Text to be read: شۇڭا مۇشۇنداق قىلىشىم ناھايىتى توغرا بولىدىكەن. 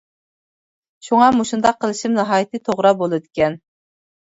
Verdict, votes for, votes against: accepted, 2, 0